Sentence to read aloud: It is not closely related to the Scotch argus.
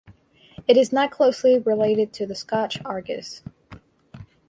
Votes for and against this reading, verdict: 4, 0, accepted